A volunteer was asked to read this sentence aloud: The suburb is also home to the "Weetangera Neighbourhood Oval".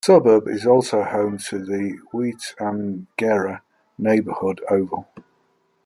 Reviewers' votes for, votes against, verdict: 0, 2, rejected